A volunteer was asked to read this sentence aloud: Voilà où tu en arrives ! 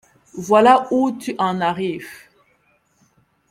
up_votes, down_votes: 2, 0